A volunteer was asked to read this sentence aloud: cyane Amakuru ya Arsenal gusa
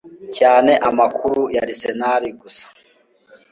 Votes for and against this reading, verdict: 2, 0, accepted